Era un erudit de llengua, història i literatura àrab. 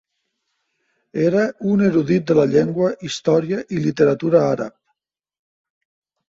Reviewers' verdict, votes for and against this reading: rejected, 1, 2